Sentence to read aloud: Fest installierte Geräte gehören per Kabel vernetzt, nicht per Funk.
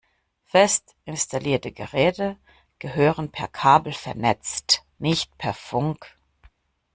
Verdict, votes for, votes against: accepted, 2, 0